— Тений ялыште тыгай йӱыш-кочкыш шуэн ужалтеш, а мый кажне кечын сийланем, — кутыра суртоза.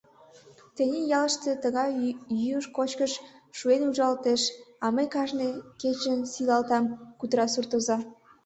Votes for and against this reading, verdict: 0, 3, rejected